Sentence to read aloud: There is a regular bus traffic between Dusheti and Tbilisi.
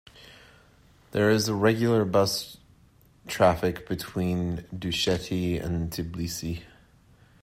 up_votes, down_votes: 0, 3